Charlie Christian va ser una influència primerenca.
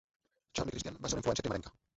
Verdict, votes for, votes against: rejected, 0, 2